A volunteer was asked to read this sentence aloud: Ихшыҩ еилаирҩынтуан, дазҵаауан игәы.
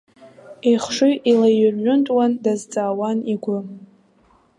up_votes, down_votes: 1, 2